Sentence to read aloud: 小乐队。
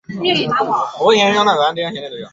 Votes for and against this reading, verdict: 0, 3, rejected